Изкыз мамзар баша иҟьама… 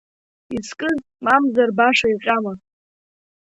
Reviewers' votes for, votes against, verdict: 2, 1, accepted